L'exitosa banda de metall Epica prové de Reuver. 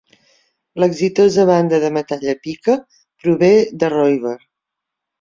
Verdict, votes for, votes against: accepted, 2, 0